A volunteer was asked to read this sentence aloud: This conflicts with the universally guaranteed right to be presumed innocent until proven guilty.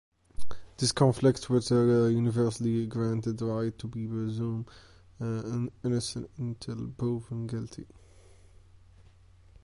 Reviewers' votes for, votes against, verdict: 0, 2, rejected